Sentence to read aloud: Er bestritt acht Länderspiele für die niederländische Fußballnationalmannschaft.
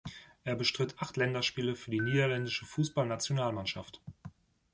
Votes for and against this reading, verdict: 2, 0, accepted